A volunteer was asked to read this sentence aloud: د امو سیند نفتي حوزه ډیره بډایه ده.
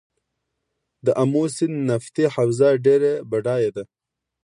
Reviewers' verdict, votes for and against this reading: accepted, 2, 0